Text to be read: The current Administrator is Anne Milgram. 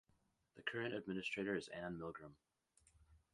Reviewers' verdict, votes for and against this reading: rejected, 0, 2